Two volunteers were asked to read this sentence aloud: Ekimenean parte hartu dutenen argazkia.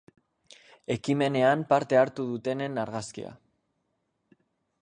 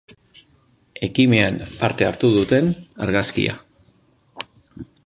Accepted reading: first